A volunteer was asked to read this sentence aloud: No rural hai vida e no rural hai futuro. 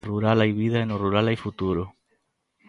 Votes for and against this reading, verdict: 0, 2, rejected